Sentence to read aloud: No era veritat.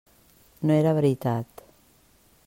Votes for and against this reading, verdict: 3, 0, accepted